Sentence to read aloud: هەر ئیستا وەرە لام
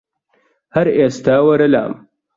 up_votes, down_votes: 2, 0